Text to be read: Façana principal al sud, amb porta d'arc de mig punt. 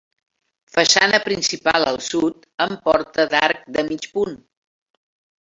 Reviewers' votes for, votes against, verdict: 3, 1, accepted